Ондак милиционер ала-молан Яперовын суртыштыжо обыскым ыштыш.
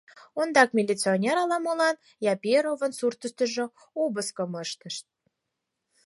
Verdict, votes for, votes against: accepted, 4, 0